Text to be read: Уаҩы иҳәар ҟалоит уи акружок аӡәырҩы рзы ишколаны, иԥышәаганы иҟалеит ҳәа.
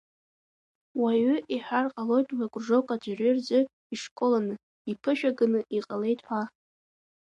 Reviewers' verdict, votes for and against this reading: accepted, 2, 0